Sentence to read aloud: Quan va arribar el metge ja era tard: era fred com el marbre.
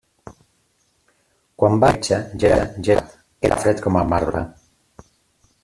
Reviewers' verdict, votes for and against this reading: rejected, 0, 3